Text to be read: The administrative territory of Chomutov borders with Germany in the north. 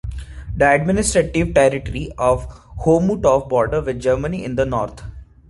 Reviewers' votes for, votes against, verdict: 2, 1, accepted